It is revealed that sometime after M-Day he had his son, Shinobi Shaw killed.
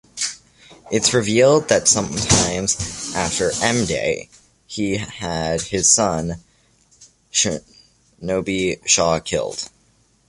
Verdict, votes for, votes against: rejected, 0, 2